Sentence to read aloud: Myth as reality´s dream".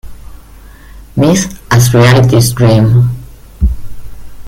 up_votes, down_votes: 1, 2